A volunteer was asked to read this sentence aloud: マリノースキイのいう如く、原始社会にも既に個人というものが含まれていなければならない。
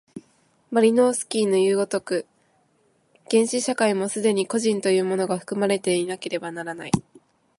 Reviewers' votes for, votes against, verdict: 1, 2, rejected